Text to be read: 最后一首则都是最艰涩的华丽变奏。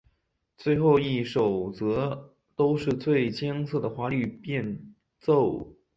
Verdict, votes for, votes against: accepted, 2, 0